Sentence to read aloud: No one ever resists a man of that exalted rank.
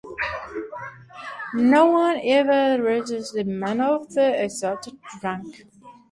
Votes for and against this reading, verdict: 0, 2, rejected